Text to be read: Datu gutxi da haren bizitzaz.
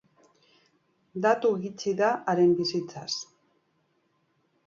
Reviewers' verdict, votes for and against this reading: accepted, 3, 1